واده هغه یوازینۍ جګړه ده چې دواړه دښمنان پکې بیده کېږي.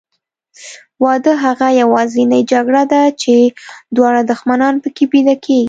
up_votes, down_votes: 2, 0